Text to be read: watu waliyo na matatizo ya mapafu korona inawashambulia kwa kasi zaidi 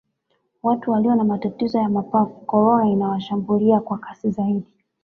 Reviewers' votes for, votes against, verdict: 3, 1, accepted